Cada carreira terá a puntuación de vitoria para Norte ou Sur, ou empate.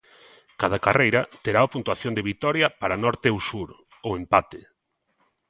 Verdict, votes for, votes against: accepted, 2, 0